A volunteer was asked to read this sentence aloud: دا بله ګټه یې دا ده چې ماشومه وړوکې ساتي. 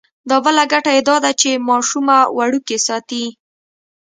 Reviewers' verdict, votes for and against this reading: accepted, 2, 0